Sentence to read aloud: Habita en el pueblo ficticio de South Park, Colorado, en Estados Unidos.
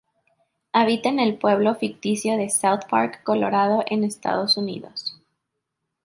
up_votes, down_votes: 2, 0